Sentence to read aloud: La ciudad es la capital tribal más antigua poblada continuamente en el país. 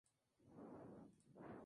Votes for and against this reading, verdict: 0, 2, rejected